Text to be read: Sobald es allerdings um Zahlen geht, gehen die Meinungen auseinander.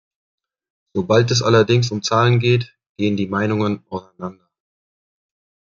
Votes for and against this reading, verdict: 2, 1, accepted